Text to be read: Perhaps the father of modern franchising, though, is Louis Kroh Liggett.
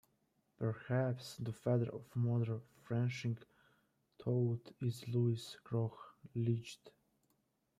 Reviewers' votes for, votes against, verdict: 1, 2, rejected